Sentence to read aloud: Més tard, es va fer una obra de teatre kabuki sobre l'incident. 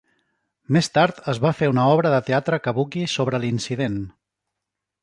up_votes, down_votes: 2, 0